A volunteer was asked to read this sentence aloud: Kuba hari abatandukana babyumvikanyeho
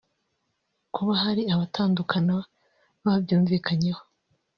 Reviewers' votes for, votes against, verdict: 1, 2, rejected